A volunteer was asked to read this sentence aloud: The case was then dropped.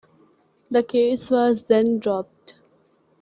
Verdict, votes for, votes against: accepted, 2, 0